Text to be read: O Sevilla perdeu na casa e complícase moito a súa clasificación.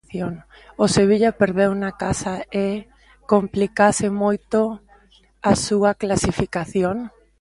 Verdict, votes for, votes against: rejected, 0, 2